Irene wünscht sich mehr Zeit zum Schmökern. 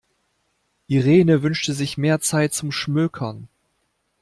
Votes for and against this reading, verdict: 1, 2, rejected